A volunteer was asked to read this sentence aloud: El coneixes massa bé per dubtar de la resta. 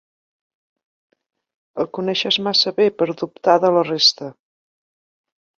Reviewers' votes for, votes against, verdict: 3, 0, accepted